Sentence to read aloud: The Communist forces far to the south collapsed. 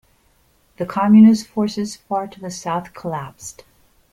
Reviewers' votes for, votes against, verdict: 2, 1, accepted